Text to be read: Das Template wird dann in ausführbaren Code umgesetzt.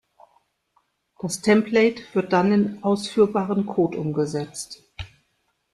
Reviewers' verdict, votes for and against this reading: accepted, 2, 1